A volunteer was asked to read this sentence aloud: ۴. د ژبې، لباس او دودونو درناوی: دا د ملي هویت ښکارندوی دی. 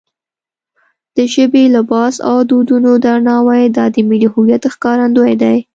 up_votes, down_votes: 0, 2